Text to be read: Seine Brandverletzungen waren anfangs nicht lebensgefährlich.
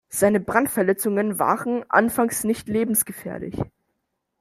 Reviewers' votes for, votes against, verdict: 2, 0, accepted